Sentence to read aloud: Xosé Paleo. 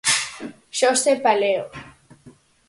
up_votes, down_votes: 4, 0